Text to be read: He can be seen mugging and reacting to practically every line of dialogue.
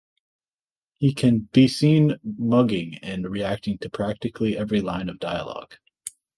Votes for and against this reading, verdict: 2, 0, accepted